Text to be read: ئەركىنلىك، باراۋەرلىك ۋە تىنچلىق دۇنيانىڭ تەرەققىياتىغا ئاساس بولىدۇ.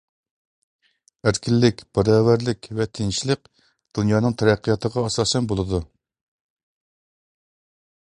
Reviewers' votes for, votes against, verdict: 1, 2, rejected